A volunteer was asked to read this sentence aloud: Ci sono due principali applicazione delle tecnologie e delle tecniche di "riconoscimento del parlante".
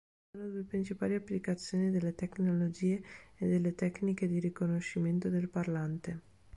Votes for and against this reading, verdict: 2, 3, rejected